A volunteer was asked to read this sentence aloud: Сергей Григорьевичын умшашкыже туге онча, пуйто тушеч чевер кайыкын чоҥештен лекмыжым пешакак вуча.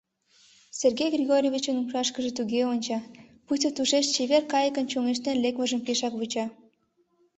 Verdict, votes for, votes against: accepted, 2, 1